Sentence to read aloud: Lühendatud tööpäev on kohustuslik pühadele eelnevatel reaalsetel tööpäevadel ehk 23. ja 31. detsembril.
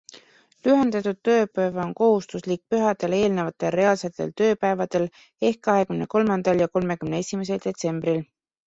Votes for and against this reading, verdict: 0, 2, rejected